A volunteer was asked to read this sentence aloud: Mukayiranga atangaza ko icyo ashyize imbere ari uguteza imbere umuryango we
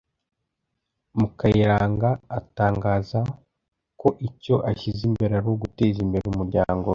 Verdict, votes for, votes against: accepted, 2, 0